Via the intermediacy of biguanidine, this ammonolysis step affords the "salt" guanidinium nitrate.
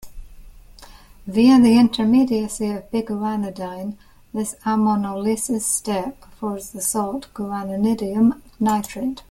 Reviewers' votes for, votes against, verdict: 2, 0, accepted